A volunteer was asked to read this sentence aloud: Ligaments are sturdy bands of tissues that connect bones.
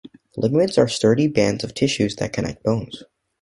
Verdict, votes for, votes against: accepted, 2, 0